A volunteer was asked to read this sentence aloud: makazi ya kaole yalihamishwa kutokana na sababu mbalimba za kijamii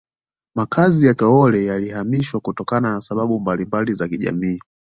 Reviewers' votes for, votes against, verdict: 2, 0, accepted